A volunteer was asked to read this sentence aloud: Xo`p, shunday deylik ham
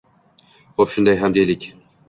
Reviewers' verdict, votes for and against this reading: accepted, 2, 1